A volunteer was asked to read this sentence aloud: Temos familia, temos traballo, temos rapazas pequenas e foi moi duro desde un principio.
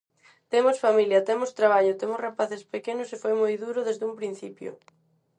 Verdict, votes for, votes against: rejected, 0, 4